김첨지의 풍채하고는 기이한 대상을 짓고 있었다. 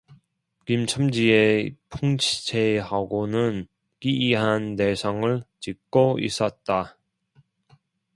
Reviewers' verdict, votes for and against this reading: rejected, 0, 2